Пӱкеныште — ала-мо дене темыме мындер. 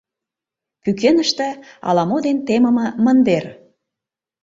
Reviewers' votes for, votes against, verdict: 1, 2, rejected